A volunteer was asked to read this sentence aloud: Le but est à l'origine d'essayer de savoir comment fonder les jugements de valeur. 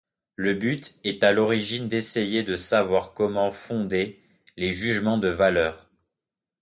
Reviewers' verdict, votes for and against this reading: accepted, 2, 0